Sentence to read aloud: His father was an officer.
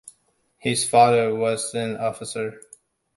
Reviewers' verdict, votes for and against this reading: accepted, 2, 0